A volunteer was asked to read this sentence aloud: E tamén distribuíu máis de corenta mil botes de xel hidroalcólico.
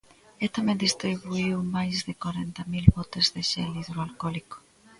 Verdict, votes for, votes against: accepted, 2, 0